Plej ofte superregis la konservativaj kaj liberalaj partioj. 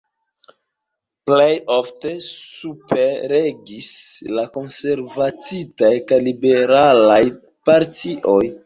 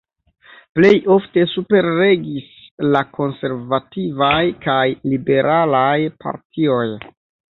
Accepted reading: second